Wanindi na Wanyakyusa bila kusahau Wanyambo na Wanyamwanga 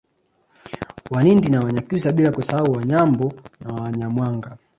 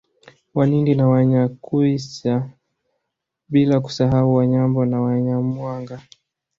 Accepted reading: second